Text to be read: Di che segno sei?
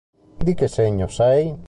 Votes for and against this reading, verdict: 2, 0, accepted